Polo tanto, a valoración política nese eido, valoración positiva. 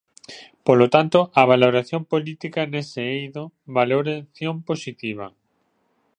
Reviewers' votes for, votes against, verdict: 0, 2, rejected